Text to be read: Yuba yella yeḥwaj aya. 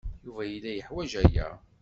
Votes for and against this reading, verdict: 2, 0, accepted